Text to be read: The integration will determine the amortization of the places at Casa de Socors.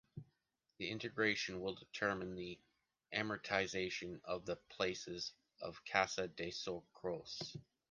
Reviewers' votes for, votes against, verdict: 1, 2, rejected